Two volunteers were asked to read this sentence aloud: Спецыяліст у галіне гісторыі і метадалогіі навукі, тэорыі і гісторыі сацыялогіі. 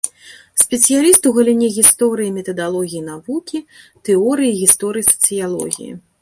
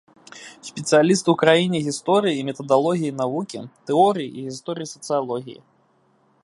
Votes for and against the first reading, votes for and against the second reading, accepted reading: 2, 0, 0, 2, first